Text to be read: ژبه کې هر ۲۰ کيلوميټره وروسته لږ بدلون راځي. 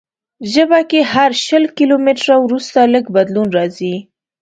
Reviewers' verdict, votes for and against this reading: rejected, 0, 2